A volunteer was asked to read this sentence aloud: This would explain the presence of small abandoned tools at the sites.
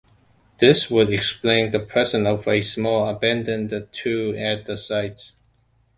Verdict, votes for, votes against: rejected, 1, 2